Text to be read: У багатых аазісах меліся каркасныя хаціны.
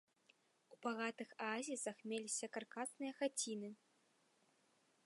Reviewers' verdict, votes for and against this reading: accepted, 2, 0